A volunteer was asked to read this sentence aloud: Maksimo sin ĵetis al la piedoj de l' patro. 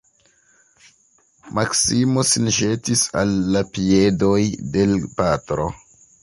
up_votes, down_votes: 2, 0